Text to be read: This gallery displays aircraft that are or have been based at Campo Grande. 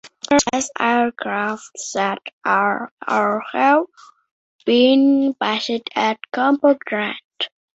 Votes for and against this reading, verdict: 0, 2, rejected